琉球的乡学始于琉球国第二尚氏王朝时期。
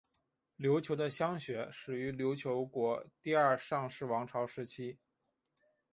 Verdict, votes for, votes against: rejected, 0, 2